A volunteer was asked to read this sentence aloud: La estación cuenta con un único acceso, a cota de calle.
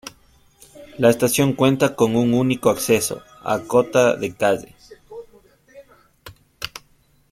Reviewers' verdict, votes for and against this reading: accepted, 2, 0